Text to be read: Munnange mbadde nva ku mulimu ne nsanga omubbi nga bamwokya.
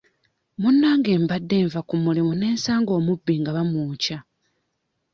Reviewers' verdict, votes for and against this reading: accepted, 2, 0